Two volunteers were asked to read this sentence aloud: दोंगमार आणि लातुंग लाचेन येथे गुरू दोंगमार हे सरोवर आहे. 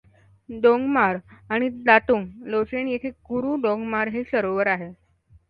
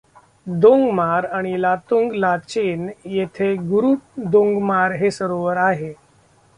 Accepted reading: first